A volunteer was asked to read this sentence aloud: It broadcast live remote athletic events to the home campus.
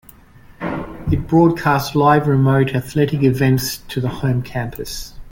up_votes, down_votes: 2, 0